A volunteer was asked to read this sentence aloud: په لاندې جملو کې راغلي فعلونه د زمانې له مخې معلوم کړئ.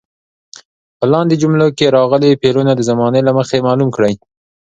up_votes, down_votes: 2, 0